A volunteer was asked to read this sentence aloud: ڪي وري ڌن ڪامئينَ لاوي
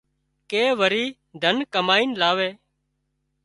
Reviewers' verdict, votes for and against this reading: accepted, 3, 0